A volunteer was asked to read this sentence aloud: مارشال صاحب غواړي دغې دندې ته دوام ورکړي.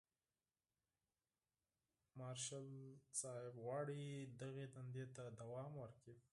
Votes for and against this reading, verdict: 2, 4, rejected